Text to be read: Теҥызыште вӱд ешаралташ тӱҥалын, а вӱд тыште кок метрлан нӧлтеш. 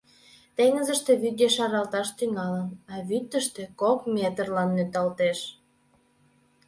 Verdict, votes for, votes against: rejected, 0, 2